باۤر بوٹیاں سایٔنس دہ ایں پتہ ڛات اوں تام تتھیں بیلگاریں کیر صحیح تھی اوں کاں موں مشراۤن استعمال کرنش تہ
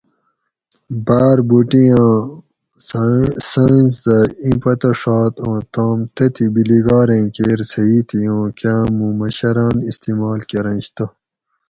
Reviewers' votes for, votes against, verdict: 2, 2, rejected